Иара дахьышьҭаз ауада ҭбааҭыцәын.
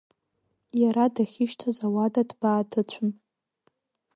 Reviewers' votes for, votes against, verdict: 2, 1, accepted